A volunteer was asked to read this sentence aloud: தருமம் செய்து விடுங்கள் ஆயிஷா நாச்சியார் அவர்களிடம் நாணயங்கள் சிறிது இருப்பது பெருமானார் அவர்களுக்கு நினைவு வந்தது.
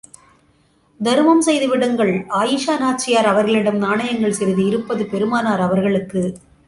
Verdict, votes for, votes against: rejected, 0, 2